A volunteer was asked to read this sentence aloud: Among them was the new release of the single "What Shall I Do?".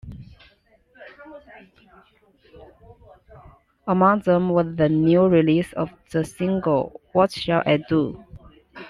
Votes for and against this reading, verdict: 2, 0, accepted